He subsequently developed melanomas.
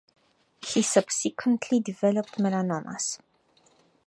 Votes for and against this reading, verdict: 4, 0, accepted